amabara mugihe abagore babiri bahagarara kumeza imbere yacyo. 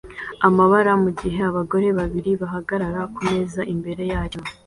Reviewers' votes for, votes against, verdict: 2, 0, accepted